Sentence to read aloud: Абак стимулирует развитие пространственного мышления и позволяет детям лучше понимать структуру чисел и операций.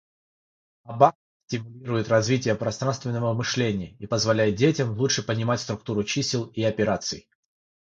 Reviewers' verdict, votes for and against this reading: accepted, 3, 0